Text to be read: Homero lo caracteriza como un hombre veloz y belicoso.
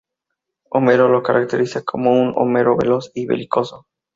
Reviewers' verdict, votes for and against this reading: rejected, 0, 2